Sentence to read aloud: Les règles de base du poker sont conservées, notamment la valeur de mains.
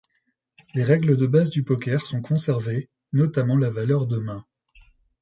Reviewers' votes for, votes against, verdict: 2, 0, accepted